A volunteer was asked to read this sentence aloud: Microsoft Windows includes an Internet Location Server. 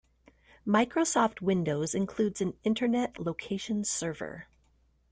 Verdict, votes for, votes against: accepted, 2, 0